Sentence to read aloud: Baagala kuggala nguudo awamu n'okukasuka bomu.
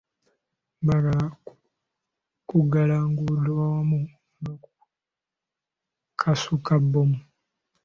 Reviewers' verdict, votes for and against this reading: rejected, 0, 2